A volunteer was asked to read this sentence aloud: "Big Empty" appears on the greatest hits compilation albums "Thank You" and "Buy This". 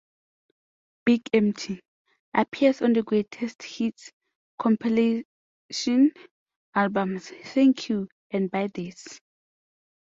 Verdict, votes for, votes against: accepted, 2, 0